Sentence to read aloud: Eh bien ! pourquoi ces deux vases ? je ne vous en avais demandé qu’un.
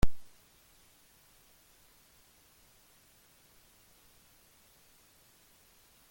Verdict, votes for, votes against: rejected, 0, 2